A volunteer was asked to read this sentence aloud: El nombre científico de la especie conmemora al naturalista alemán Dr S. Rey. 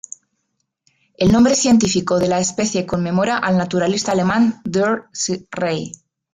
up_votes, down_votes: 2, 1